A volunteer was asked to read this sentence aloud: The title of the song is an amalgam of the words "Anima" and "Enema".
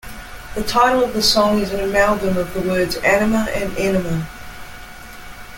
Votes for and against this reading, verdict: 2, 0, accepted